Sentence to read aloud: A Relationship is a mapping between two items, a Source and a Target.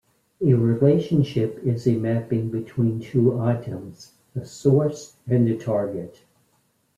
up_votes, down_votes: 1, 2